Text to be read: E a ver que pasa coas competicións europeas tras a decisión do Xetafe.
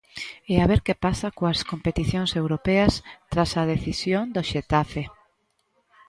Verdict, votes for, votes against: accepted, 2, 0